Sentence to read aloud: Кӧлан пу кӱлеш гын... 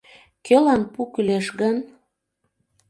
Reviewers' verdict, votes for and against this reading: accepted, 2, 0